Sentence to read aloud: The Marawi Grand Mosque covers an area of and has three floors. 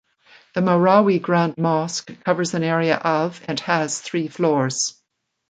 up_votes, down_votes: 2, 0